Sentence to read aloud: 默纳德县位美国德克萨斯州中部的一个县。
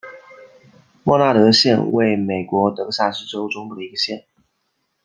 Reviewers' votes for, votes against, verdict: 2, 1, accepted